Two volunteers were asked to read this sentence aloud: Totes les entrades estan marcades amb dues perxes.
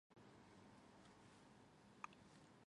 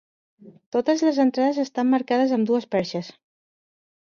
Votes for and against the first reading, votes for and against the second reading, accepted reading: 0, 2, 2, 0, second